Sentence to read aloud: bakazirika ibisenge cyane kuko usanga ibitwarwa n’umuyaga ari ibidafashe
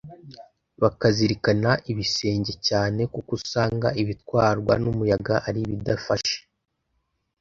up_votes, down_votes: 1, 2